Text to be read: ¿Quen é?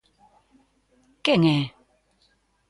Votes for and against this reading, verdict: 2, 0, accepted